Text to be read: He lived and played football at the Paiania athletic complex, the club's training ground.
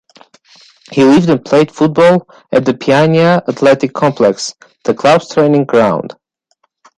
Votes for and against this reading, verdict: 2, 0, accepted